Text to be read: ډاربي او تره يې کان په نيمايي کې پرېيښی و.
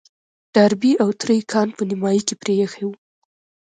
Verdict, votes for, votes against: rejected, 1, 2